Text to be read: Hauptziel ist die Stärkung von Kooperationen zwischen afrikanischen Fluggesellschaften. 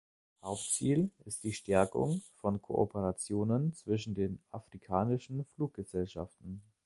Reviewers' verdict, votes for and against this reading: rejected, 1, 2